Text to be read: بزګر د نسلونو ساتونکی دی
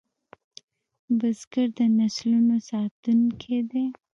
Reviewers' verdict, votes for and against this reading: accepted, 2, 1